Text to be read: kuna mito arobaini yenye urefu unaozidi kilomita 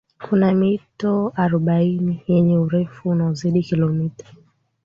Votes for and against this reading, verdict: 2, 0, accepted